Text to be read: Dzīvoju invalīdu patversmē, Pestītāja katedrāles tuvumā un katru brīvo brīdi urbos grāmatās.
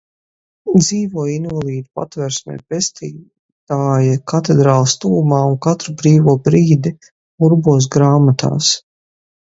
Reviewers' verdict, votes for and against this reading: rejected, 0, 2